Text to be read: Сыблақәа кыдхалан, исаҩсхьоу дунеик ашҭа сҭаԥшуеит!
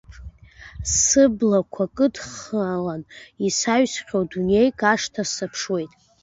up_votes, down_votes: 1, 2